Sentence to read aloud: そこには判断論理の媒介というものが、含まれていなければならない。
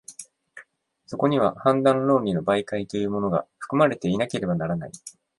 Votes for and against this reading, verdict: 2, 0, accepted